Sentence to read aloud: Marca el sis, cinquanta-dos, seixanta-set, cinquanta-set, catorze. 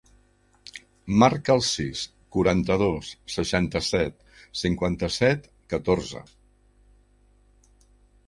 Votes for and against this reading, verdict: 0, 3, rejected